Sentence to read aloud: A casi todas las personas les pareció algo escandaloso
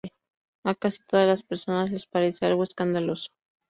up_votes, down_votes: 0, 2